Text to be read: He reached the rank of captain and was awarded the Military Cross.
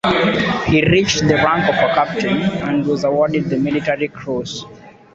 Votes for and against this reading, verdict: 0, 2, rejected